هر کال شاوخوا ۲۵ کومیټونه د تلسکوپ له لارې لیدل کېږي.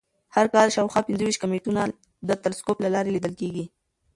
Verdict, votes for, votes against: rejected, 0, 2